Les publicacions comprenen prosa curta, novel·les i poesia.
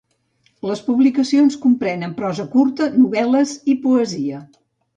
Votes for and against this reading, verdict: 2, 0, accepted